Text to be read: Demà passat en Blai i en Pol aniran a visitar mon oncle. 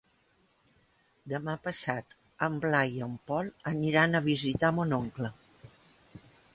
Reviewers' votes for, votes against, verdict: 3, 0, accepted